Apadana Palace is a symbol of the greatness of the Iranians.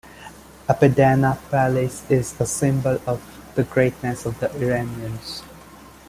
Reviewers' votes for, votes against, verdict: 1, 2, rejected